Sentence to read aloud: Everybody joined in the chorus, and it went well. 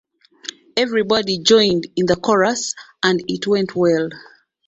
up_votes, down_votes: 3, 2